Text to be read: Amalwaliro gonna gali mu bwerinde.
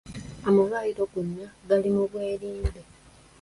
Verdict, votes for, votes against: accepted, 2, 1